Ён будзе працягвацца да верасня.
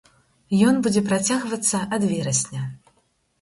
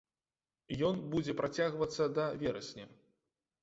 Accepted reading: second